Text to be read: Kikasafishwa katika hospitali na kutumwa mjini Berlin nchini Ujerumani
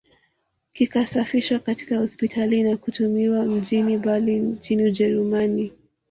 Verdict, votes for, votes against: accepted, 2, 0